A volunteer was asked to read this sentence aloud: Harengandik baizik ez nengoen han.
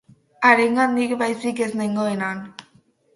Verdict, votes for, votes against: accepted, 8, 0